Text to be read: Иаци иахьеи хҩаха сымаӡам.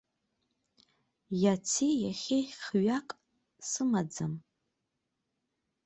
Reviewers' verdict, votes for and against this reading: rejected, 0, 2